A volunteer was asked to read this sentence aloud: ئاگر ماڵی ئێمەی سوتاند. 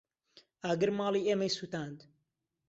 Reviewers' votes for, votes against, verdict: 2, 0, accepted